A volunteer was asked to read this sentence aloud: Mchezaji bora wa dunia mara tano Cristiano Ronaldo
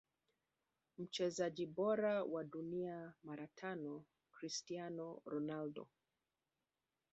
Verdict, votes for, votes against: accepted, 2, 1